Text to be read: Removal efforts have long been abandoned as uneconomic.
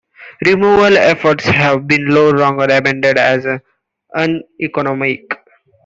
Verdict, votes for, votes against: rejected, 0, 2